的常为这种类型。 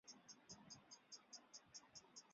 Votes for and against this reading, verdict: 0, 2, rejected